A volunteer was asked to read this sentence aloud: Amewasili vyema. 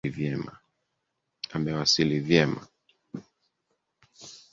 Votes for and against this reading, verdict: 0, 2, rejected